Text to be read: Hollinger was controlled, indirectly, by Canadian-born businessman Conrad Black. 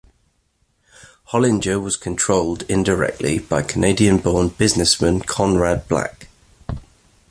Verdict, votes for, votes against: accepted, 2, 0